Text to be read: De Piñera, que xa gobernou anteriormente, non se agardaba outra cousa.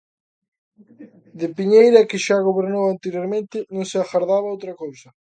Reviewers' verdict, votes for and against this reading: rejected, 0, 2